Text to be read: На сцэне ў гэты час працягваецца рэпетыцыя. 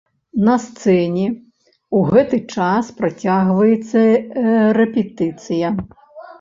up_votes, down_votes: 0, 2